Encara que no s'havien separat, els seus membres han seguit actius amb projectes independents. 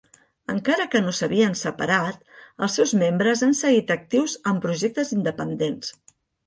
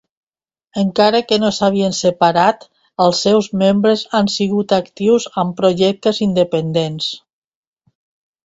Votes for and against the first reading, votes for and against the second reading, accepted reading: 2, 0, 1, 2, first